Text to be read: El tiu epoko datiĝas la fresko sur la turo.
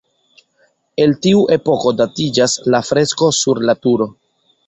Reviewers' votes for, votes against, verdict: 1, 2, rejected